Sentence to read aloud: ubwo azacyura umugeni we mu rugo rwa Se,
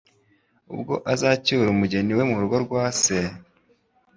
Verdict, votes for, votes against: accepted, 2, 0